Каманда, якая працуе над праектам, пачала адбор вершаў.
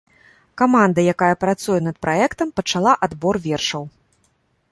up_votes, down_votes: 2, 0